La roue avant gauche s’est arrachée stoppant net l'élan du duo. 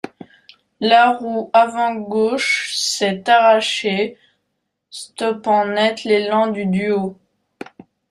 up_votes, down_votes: 0, 2